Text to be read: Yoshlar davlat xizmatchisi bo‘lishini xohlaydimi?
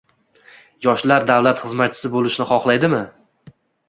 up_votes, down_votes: 2, 0